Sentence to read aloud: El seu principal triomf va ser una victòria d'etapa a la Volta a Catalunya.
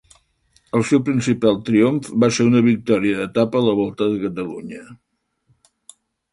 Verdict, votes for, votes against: rejected, 0, 2